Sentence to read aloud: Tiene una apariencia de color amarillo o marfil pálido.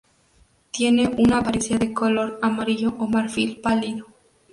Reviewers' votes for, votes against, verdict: 0, 2, rejected